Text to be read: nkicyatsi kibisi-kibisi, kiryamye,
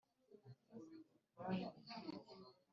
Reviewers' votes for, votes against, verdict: 1, 3, rejected